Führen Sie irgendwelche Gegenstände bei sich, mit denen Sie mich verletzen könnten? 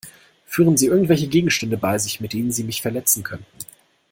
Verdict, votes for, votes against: accepted, 2, 0